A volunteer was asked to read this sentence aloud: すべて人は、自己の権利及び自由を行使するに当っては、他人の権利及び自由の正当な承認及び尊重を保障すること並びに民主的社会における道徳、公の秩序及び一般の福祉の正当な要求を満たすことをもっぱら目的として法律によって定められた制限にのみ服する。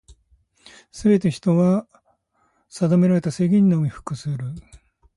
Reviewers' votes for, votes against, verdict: 0, 2, rejected